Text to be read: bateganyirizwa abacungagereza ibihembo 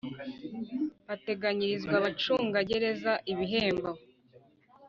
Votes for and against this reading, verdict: 2, 0, accepted